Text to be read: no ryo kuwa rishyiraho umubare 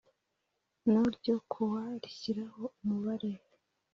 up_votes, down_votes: 2, 0